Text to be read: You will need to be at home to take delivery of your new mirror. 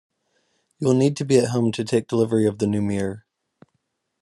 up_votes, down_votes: 1, 2